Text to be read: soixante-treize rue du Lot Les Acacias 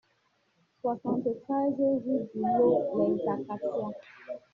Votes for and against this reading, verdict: 1, 2, rejected